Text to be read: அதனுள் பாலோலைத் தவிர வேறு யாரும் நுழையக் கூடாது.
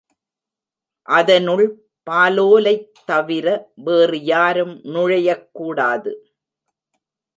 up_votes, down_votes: 1, 2